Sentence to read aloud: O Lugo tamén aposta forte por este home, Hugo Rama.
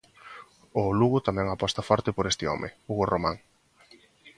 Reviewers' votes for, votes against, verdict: 0, 2, rejected